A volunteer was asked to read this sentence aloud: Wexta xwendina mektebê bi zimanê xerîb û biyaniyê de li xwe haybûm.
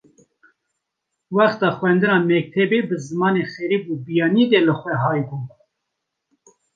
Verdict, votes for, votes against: accepted, 2, 0